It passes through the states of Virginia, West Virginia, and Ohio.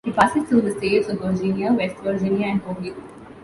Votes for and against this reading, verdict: 1, 2, rejected